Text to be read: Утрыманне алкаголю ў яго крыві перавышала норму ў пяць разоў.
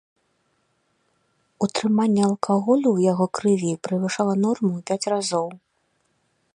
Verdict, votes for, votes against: rejected, 0, 2